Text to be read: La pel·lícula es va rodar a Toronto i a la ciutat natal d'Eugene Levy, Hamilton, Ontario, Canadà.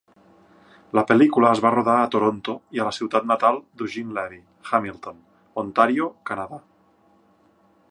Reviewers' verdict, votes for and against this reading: accepted, 3, 0